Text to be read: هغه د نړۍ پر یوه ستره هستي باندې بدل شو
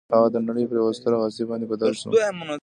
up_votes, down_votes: 2, 0